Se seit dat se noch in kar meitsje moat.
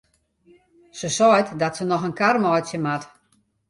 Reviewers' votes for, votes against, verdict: 2, 0, accepted